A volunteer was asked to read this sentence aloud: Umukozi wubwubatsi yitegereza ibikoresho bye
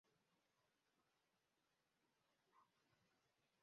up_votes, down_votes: 0, 2